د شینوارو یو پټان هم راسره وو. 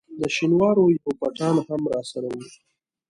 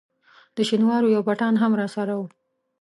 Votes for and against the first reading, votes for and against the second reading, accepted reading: 3, 4, 2, 0, second